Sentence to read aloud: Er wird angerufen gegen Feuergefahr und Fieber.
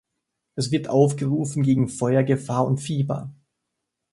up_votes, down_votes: 0, 2